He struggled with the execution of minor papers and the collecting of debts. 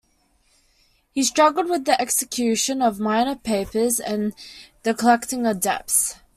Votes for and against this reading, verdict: 2, 0, accepted